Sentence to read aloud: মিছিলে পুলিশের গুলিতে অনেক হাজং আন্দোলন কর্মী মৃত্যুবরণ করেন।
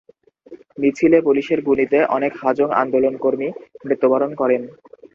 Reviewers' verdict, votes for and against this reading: accepted, 2, 0